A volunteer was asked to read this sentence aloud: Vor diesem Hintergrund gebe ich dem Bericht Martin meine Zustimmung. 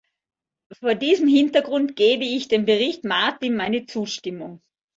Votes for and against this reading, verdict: 2, 0, accepted